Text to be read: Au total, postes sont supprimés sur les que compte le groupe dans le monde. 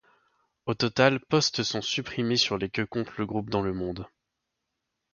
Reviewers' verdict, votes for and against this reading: rejected, 1, 2